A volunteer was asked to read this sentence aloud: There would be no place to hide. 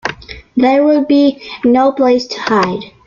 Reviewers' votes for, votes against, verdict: 2, 0, accepted